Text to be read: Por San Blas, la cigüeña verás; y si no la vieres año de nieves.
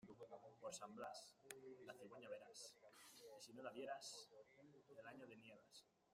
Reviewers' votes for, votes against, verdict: 0, 2, rejected